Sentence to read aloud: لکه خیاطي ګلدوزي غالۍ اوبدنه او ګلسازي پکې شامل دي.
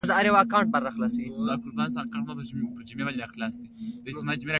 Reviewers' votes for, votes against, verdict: 1, 2, rejected